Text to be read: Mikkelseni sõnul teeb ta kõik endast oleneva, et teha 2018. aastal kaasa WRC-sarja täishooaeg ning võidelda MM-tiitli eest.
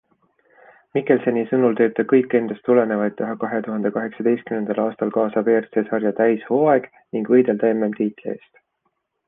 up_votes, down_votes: 0, 2